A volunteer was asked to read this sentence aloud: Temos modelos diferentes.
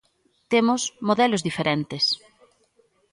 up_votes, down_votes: 2, 0